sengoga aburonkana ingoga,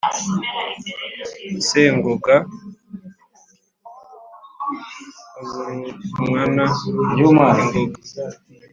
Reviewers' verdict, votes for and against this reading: rejected, 1, 2